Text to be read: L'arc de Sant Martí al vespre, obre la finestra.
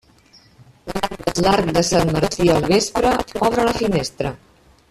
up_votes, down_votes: 0, 2